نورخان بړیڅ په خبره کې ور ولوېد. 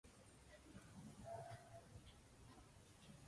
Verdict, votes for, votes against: rejected, 0, 2